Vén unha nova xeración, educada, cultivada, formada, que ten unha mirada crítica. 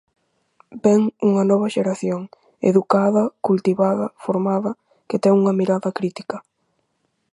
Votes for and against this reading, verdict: 4, 0, accepted